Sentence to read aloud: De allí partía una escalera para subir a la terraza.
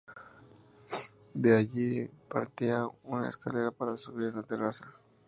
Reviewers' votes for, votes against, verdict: 0, 2, rejected